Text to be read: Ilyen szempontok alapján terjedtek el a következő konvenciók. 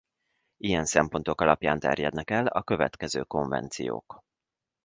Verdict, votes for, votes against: rejected, 1, 2